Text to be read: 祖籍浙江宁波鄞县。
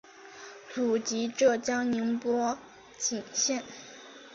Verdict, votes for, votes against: accepted, 2, 0